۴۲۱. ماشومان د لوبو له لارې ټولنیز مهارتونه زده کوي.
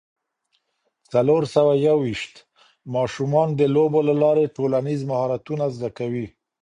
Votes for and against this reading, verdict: 0, 2, rejected